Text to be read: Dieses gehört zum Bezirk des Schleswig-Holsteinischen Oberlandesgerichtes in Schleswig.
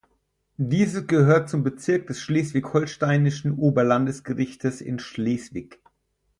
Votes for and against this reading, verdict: 2, 4, rejected